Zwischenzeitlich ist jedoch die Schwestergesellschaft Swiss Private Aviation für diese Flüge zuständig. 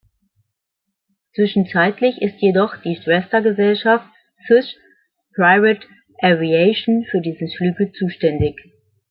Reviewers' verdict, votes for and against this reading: accepted, 2, 0